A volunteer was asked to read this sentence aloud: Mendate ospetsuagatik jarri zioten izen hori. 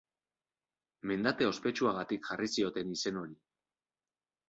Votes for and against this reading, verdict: 2, 0, accepted